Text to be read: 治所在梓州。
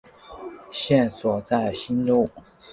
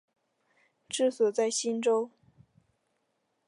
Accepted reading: second